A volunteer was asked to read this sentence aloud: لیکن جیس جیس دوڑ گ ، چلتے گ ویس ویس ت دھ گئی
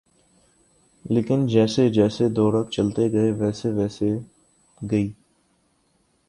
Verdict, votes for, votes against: rejected, 1, 2